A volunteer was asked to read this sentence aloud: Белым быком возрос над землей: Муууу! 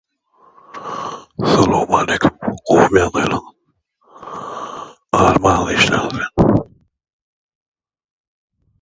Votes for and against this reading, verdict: 0, 2, rejected